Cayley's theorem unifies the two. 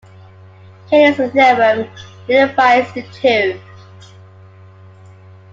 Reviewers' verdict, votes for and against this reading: accepted, 2, 1